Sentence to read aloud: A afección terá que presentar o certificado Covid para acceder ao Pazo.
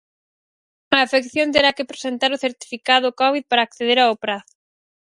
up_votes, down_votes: 0, 4